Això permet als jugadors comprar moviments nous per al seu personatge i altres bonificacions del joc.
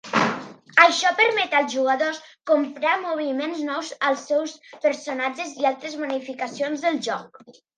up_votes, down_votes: 0, 2